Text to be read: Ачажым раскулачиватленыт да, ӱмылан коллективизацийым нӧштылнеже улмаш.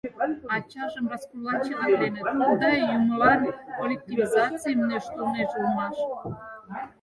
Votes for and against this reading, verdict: 0, 4, rejected